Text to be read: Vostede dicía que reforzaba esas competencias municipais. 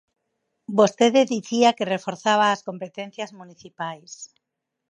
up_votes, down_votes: 0, 4